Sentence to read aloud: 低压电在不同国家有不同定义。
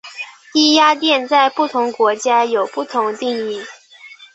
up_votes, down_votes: 3, 1